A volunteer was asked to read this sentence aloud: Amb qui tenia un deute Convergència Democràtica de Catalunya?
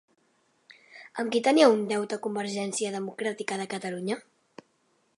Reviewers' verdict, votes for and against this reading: accepted, 3, 0